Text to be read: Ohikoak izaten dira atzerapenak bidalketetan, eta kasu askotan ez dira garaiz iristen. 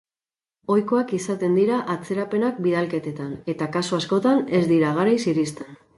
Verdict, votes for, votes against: accepted, 4, 0